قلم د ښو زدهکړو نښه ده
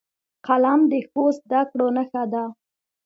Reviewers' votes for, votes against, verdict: 2, 0, accepted